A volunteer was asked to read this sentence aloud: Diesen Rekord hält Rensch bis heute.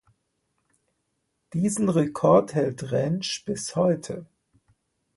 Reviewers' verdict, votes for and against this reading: accepted, 2, 0